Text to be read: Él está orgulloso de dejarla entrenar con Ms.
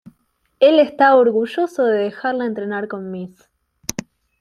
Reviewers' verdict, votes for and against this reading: accepted, 2, 0